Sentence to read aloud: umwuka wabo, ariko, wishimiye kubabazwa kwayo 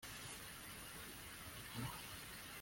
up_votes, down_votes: 0, 2